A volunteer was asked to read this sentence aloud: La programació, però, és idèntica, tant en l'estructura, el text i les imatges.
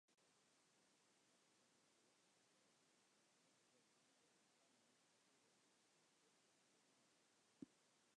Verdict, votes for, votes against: rejected, 0, 2